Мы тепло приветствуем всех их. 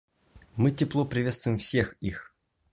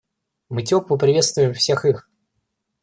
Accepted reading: first